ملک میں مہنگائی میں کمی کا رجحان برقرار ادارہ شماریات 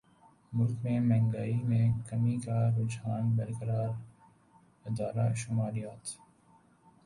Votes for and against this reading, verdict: 0, 2, rejected